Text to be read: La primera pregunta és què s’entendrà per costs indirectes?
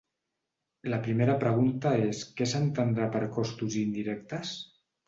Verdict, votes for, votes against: rejected, 2, 3